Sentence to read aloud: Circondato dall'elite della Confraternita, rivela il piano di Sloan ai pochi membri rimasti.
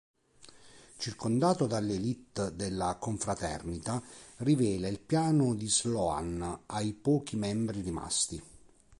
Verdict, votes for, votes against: accepted, 2, 0